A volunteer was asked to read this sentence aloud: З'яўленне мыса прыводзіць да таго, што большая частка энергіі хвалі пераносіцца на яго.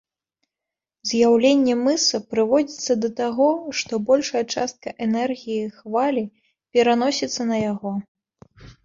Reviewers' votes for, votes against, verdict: 1, 2, rejected